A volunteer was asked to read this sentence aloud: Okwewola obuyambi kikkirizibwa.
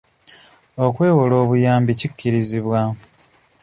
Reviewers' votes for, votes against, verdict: 1, 2, rejected